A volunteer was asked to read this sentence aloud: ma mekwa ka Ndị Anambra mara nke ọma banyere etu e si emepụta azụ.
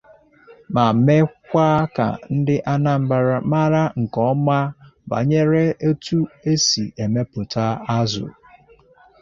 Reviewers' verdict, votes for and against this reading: accepted, 2, 0